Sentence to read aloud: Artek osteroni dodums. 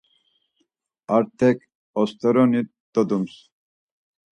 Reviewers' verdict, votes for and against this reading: accepted, 4, 0